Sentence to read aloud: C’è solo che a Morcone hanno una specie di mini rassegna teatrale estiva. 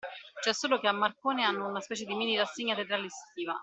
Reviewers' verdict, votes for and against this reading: rejected, 0, 2